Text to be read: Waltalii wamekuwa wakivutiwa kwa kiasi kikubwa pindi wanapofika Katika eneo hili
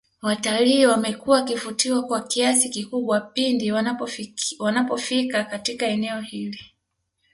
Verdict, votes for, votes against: rejected, 0, 2